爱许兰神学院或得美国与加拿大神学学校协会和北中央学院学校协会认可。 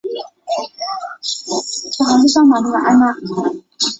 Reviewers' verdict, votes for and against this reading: rejected, 0, 2